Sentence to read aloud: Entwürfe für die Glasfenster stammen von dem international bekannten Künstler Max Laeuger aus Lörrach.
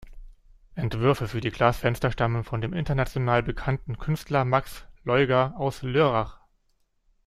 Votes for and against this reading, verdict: 2, 0, accepted